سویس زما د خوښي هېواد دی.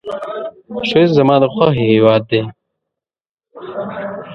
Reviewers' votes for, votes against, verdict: 0, 2, rejected